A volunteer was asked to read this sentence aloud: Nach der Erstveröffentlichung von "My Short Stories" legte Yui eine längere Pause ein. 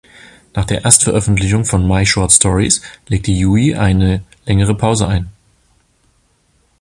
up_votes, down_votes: 2, 0